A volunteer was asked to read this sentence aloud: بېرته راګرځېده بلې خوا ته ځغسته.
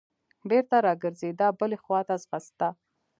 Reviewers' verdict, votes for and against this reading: accepted, 2, 0